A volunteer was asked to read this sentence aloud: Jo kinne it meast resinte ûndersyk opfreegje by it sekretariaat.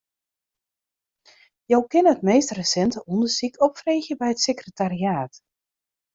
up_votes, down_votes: 0, 2